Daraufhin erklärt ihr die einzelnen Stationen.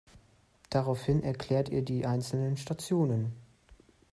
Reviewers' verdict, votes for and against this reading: accepted, 3, 0